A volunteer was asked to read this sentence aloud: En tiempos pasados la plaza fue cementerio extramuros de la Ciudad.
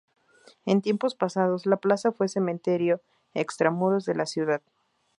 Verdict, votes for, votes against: accepted, 2, 0